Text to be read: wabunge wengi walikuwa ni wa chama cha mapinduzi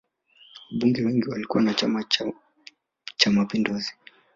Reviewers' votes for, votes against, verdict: 1, 2, rejected